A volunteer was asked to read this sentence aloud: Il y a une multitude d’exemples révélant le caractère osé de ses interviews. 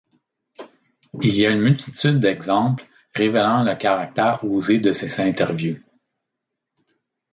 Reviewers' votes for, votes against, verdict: 2, 0, accepted